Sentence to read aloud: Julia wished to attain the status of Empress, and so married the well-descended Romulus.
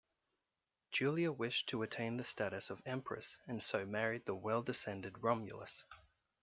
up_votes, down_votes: 2, 0